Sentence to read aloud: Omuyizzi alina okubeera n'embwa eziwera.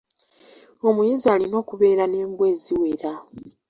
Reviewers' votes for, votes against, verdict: 2, 1, accepted